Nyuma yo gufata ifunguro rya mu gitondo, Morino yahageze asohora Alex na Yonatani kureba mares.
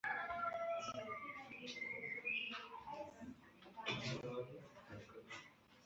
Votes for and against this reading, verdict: 2, 3, rejected